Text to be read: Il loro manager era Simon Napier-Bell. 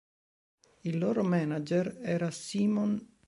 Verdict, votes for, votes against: rejected, 0, 2